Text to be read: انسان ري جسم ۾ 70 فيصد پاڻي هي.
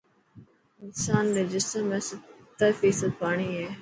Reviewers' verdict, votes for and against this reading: rejected, 0, 2